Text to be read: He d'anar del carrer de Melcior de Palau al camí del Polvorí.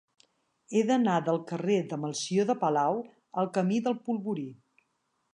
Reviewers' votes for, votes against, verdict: 2, 0, accepted